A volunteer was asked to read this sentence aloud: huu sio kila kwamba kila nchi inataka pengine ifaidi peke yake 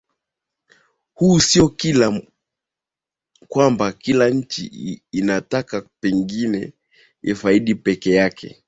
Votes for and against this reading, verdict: 2, 5, rejected